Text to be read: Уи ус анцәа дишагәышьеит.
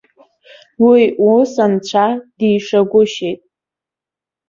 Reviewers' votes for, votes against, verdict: 2, 0, accepted